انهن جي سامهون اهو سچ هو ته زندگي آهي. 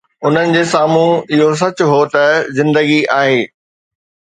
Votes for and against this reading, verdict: 2, 0, accepted